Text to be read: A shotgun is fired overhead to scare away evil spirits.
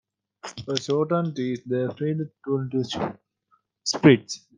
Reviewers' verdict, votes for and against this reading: rejected, 0, 2